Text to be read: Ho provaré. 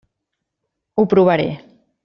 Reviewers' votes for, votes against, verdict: 3, 0, accepted